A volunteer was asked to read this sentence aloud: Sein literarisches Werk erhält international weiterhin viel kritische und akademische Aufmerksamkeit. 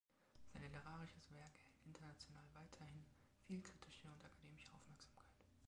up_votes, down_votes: 0, 2